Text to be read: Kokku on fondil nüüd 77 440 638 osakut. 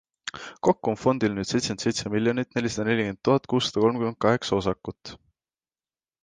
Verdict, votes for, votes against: rejected, 0, 2